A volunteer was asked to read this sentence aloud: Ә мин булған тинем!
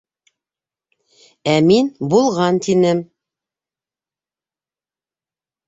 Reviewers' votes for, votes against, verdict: 2, 0, accepted